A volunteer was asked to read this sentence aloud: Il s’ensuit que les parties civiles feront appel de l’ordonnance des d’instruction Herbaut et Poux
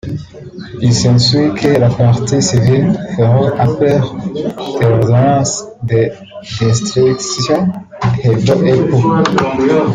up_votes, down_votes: 0, 2